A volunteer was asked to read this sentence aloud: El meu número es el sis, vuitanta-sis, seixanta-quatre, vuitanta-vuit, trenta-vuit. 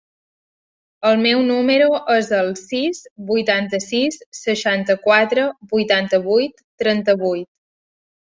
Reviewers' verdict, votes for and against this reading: accepted, 4, 0